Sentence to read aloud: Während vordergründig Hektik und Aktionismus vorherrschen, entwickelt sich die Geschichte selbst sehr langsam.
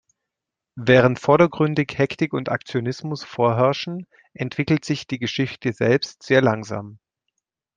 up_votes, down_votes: 2, 0